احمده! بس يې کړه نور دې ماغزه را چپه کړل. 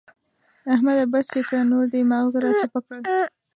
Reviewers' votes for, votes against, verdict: 1, 2, rejected